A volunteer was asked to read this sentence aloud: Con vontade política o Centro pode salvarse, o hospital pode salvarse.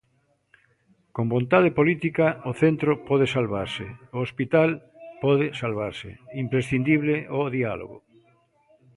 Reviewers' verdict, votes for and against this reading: rejected, 0, 2